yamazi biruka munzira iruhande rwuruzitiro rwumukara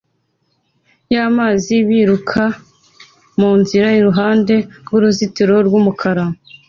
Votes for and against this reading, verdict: 2, 0, accepted